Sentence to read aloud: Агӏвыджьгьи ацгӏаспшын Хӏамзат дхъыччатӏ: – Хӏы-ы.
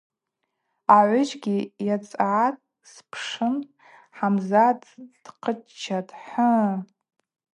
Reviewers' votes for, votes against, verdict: 0, 2, rejected